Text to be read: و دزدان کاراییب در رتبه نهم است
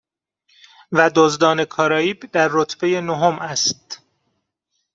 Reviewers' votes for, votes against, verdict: 2, 0, accepted